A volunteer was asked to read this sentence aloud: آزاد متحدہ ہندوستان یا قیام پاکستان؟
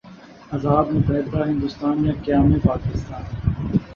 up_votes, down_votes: 2, 0